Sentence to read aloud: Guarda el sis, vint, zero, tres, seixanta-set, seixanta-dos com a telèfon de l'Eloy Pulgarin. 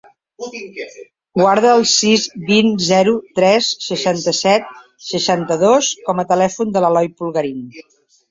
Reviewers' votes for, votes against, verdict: 2, 0, accepted